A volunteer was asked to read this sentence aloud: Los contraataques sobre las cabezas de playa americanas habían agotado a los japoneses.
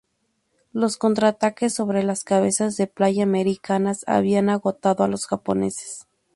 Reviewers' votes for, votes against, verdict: 2, 0, accepted